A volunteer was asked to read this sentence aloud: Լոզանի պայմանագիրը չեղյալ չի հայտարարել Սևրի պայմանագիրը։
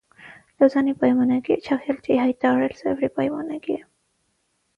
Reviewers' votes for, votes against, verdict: 3, 3, rejected